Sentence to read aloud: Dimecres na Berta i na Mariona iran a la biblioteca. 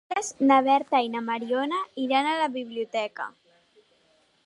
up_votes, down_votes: 0, 2